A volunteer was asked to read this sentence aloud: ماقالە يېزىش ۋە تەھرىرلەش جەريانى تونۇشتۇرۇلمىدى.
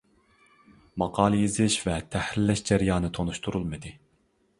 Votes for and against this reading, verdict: 2, 0, accepted